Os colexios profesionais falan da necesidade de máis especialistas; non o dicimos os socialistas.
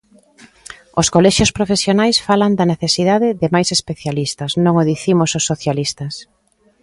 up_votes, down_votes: 2, 0